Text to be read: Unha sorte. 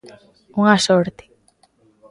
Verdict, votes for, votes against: accepted, 2, 0